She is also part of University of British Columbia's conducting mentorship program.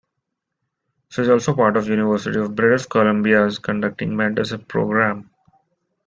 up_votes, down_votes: 2, 1